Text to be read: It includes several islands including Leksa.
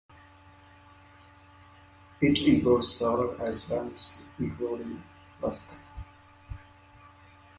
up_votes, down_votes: 0, 2